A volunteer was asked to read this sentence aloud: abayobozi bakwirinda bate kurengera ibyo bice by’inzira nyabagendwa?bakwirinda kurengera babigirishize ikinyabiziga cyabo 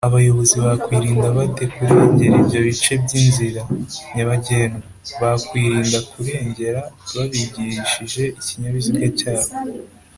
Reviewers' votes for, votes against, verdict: 2, 0, accepted